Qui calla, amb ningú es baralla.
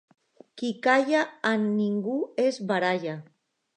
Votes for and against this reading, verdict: 2, 0, accepted